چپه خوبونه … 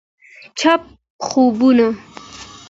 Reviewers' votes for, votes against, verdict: 2, 0, accepted